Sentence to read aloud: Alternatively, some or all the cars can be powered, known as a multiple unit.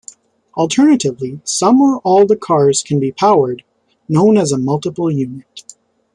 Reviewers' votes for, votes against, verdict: 2, 0, accepted